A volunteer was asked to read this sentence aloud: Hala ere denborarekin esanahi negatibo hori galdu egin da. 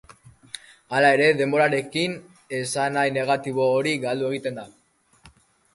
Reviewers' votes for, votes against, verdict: 2, 3, rejected